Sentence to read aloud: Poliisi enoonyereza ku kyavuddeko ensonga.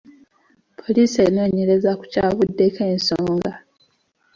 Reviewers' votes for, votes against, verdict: 0, 2, rejected